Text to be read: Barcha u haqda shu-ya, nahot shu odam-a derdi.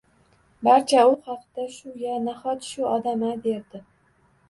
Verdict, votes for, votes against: accepted, 2, 0